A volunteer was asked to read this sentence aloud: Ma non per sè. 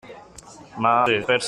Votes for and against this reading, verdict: 0, 2, rejected